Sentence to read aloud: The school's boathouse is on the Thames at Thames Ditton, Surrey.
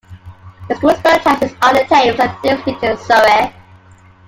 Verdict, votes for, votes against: accepted, 2, 0